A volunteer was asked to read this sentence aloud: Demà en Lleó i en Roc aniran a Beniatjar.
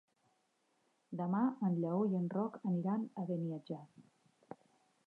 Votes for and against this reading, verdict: 3, 0, accepted